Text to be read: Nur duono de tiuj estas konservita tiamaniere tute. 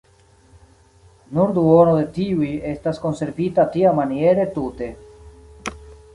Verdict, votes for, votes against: accepted, 2, 0